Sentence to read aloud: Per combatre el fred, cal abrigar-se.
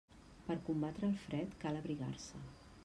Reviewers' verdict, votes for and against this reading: accepted, 3, 0